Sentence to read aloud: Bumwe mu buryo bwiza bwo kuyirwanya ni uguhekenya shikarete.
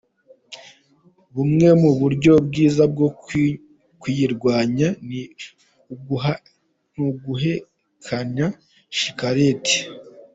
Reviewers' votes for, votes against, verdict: 1, 2, rejected